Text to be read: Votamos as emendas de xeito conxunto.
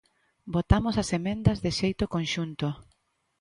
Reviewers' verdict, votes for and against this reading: accepted, 2, 0